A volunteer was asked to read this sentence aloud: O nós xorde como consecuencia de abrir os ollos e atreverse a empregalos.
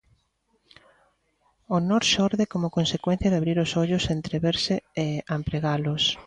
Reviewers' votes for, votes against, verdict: 0, 2, rejected